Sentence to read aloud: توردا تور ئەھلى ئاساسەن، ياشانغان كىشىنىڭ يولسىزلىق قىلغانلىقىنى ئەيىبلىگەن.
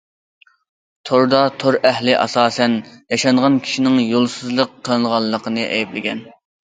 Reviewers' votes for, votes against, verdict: 0, 2, rejected